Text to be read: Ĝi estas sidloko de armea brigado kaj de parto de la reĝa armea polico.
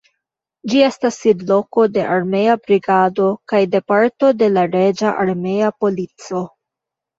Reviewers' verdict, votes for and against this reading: accepted, 2, 1